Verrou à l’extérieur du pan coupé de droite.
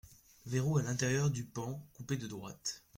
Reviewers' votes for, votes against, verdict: 0, 2, rejected